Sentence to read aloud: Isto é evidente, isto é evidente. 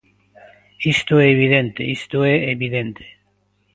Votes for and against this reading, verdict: 2, 0, accepted